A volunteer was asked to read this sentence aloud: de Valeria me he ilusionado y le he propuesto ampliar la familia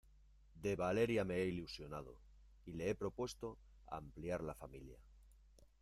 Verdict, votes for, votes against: accepted, 2, 0